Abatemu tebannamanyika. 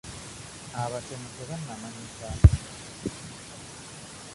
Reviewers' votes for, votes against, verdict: 0, 2, rejected